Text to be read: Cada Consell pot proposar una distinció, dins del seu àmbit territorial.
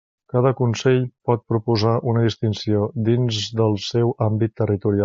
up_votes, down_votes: 1, 2